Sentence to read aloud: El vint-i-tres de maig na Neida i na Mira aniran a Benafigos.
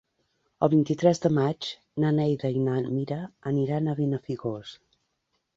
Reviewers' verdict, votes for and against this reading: accepted, 3, 0